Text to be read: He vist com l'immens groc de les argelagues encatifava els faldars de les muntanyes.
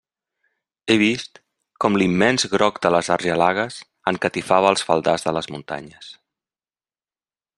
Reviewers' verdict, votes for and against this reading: accepted, 2, 0